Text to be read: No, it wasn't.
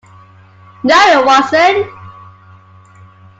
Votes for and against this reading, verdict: 2, 1, accepted